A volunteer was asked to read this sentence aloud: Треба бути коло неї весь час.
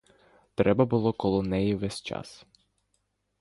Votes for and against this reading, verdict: 0, 2, rejected